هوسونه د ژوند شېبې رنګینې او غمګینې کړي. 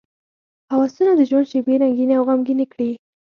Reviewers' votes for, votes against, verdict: 4, 0, accepted